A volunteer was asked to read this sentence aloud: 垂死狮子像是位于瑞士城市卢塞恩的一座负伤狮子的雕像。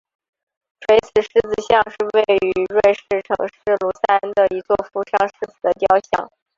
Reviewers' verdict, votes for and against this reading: rejected, 1, 2